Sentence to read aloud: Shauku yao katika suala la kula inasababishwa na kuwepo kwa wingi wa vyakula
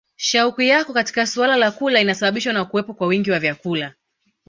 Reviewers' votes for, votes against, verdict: 2, 0, accepted